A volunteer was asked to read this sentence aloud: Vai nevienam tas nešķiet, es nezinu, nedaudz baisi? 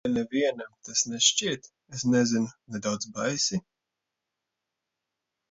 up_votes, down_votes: 0, 2